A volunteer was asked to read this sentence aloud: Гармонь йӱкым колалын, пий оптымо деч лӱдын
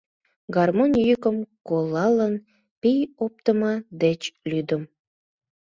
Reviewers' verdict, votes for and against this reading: rejected, 0, 2